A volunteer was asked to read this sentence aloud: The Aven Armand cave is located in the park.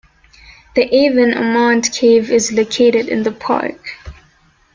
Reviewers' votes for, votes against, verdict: 1, 2, rejected